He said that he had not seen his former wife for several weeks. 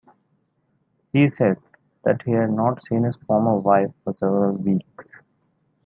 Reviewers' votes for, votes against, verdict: 2, 0, accepted